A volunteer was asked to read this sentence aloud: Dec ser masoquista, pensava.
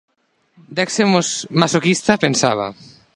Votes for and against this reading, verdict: 0, 3, rejected